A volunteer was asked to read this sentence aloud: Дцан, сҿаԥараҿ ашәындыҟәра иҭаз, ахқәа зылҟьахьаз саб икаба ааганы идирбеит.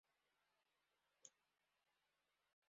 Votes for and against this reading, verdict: 0, 3, rejected